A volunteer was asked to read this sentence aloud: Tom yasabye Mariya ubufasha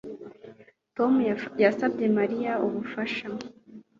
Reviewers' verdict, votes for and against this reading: accepted, 2, 0